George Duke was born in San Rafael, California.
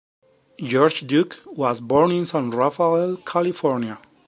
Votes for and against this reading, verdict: 2, 0, accepted